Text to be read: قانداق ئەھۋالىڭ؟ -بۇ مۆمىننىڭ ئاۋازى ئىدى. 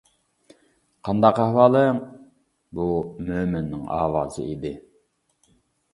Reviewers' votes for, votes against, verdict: 2, 0, accepted